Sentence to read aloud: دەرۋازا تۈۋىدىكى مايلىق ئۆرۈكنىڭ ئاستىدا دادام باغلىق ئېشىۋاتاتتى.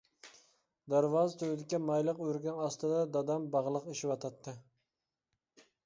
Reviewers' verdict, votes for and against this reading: accepted, 2, 1